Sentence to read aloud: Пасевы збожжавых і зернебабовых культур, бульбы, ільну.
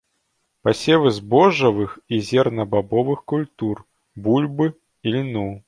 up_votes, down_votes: 1, 2